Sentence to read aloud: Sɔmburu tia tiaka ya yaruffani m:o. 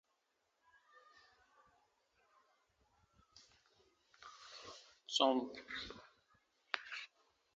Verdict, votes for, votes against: rejected, 0, 2